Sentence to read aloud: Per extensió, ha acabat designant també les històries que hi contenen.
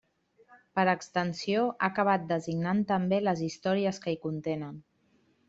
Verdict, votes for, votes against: accepted, 3, 0